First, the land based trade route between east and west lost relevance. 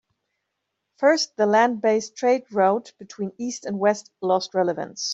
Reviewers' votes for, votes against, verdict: 2, 0, accepted